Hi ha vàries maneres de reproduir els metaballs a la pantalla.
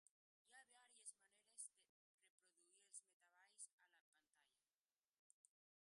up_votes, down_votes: 1, 2